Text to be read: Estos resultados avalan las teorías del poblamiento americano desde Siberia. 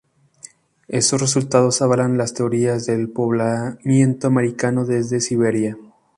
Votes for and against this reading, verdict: 2, 0, accepted